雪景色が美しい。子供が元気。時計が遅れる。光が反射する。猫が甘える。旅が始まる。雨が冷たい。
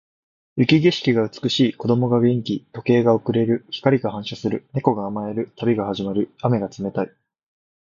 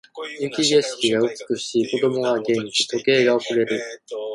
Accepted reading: first